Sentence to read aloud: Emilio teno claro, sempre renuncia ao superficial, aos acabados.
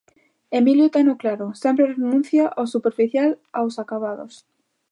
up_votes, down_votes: 2, 0